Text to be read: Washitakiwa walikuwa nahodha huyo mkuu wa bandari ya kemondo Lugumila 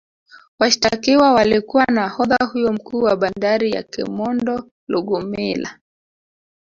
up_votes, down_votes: 0, 2